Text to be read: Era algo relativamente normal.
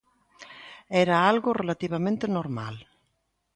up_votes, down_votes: 2, 0